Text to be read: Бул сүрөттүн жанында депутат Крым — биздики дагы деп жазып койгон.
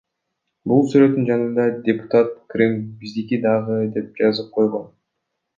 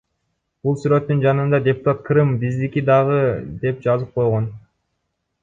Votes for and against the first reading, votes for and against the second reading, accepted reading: 2, 0, 1, 2, first